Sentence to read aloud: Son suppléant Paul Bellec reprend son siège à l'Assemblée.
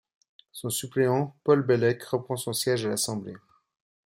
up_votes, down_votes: 2, 0